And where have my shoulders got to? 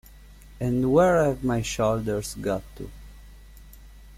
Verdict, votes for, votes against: rejected, 1, 2